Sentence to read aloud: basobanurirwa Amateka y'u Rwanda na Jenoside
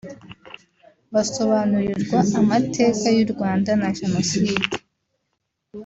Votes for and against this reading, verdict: 1, 2, rejected